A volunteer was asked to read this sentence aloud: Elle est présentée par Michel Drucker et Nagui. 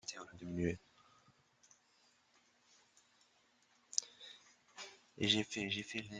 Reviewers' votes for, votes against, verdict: 0, 2, rejected